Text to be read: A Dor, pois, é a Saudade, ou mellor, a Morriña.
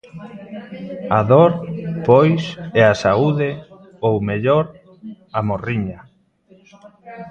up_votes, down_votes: 0, 2